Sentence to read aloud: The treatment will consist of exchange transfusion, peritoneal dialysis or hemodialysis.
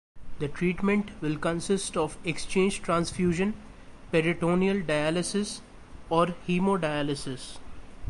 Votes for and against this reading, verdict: 2, 0, accepted